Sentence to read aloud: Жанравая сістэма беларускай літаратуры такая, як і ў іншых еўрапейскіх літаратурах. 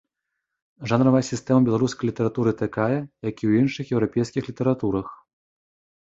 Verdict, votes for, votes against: accepted, 2, 0